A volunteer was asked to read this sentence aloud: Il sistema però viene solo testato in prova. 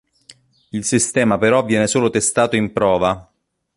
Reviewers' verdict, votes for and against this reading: accepted, 2, 0